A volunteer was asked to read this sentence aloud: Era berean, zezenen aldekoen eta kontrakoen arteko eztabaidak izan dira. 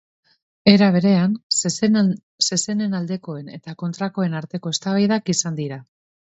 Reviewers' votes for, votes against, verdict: 0, 2, rejected